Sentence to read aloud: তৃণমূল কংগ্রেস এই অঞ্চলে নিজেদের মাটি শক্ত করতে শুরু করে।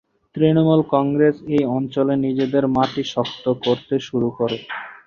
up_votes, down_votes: 2, 0